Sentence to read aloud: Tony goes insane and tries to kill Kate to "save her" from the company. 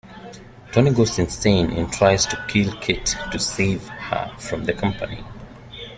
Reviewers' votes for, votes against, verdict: 1, 2, rejected